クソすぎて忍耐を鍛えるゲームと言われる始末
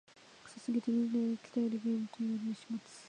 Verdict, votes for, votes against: rejected, 0, 2